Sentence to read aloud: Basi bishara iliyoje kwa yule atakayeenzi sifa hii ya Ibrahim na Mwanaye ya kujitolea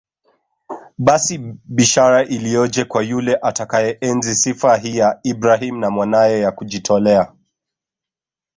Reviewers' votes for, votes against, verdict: 2, 0, accepted